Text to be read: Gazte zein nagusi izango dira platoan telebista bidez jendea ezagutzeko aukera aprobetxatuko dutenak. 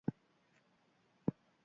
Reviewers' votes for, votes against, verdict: 0, 2, rejected